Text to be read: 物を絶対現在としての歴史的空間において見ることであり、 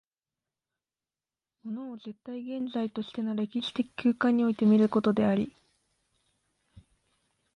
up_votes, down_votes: 2, 1